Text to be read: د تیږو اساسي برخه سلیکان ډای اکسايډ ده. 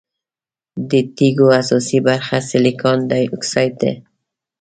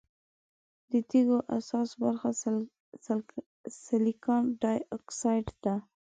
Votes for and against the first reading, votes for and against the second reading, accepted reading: 2, 0, 1, 2, first